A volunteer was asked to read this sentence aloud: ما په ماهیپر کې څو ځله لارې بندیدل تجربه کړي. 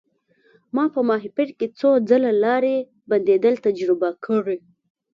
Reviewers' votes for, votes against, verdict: 2, 0, accepted